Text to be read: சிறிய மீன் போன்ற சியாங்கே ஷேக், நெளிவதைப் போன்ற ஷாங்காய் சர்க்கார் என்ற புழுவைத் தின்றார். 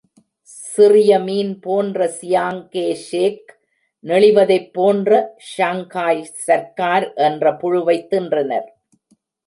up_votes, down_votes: 0, 2